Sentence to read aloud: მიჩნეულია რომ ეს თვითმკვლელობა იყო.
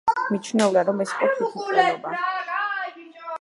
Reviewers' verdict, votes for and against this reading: rejected, 0, 2